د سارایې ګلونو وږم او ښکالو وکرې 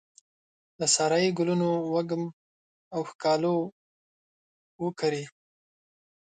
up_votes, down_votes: 6, 2